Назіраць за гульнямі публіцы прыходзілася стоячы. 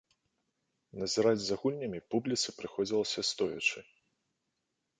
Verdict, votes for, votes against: accepted, 2, 0